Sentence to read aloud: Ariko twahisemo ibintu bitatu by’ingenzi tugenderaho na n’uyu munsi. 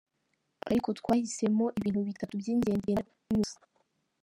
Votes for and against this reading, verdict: 0, 2, rejected